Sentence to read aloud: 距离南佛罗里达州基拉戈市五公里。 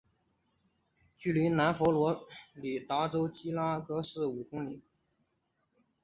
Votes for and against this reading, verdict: 2, 0, accepted